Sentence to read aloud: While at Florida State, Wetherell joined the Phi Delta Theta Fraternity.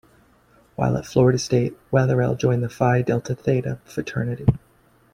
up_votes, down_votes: 2, 0